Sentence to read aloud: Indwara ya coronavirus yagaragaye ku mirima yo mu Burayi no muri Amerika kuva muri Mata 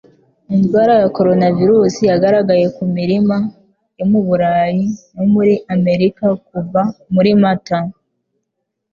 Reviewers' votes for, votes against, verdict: 3, 0, accepted